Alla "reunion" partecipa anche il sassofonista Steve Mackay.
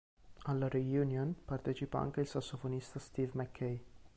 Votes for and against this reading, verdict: 1, 2, rejected